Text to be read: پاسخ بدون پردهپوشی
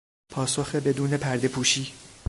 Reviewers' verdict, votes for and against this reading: accepted, 2, 0